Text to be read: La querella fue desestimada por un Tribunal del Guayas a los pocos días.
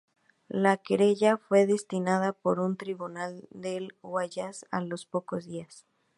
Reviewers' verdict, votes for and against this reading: rejected, 0, 2